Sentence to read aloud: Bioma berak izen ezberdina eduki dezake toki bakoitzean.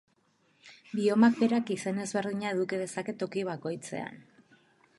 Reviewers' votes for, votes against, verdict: 2, 0, accepted